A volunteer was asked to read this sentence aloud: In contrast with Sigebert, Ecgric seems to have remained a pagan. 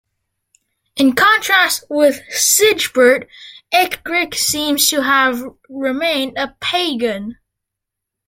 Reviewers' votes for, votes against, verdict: 0, 2, rejected